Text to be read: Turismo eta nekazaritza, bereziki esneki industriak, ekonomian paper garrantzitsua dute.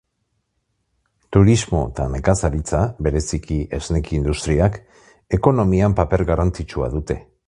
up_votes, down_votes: 2, 0